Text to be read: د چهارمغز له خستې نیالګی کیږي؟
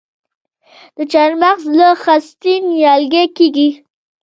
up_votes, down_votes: 1, 2